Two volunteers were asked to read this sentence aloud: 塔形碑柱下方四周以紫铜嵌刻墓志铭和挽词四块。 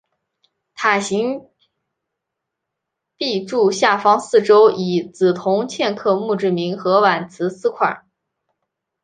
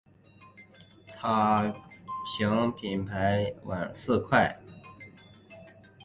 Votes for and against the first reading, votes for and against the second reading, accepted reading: 2, 0, 2, 4, first